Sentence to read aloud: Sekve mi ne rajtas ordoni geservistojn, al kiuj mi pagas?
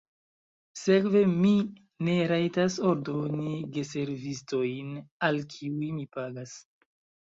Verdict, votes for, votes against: accepted, 2, 1